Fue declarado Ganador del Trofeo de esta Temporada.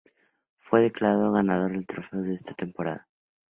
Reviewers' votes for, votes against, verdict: 0, 2, rejected